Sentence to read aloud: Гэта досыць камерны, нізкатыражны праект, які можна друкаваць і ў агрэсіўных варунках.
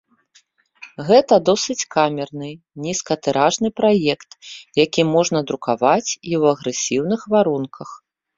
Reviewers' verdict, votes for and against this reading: accepted, 3, 0